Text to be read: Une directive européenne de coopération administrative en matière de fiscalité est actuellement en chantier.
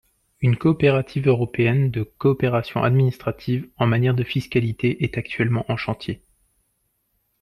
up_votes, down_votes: 0, 2